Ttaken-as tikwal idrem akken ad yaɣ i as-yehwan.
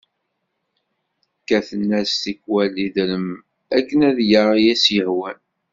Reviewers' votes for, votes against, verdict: 0, 2, rejected